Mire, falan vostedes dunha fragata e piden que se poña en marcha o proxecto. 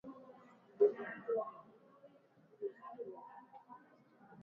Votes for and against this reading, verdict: 0, 2, rejected